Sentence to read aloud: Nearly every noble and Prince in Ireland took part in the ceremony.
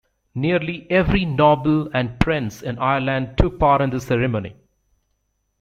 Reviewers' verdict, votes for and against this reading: accepted, 2, 0